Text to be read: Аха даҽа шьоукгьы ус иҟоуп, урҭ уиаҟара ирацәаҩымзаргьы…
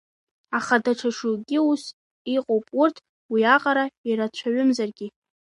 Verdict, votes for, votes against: accepted, 2, 1